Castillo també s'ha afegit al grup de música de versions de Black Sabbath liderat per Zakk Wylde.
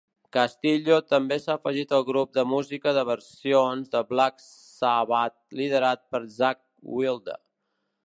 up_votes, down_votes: 2, 0